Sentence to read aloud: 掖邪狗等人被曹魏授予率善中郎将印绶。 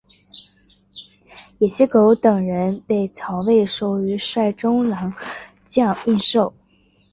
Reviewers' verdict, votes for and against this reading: accepted, 2, 1